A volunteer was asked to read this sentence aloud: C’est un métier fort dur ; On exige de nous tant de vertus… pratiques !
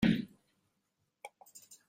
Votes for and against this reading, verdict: 0, 2, rejected